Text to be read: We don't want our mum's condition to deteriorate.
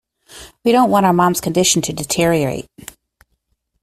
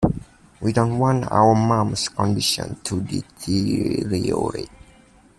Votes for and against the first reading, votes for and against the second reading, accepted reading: 2, 0, 1, 2, first